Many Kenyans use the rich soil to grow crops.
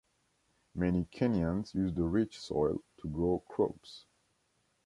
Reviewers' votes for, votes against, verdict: 2, 0, accepted